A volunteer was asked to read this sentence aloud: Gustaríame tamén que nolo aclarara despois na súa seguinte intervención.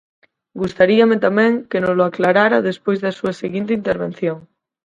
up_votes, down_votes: 0, 4